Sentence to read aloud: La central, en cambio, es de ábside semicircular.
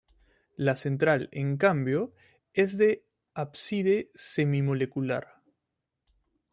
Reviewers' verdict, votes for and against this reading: rejected, 0, 2